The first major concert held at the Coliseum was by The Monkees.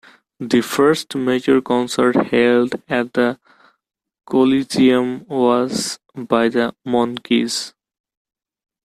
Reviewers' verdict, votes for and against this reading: accepted, 2, 1